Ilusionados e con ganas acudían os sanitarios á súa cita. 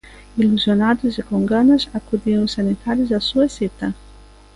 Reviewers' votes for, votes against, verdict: 2, 0, accepted